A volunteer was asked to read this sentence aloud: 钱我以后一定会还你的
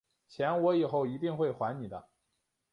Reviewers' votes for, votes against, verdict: 3, 0, accepted